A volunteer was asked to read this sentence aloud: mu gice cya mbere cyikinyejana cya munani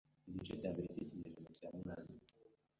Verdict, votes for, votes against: rejected, 1, 2